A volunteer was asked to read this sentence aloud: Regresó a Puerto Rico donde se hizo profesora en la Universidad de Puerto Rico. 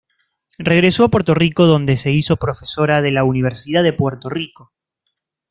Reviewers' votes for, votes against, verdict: 2, 3, rejected